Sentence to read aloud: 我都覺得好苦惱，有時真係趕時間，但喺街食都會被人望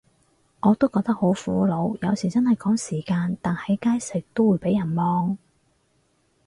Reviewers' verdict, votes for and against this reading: accepted, 4, 0